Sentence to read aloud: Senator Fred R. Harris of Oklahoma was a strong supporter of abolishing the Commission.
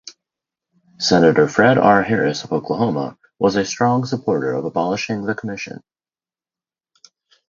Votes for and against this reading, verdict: 2, 2, rejected